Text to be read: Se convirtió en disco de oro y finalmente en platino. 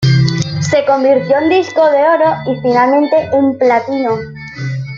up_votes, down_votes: 2, 1